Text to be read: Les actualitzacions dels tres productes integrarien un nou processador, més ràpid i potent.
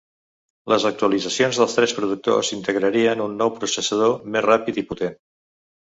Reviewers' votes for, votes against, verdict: 0, 3, rejected